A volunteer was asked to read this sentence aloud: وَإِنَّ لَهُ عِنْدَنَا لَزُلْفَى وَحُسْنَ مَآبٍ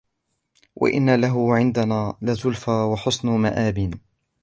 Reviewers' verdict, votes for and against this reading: accepted, 2, 0